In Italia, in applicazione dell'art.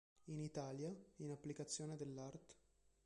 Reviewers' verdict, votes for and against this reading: accepted, 2, 1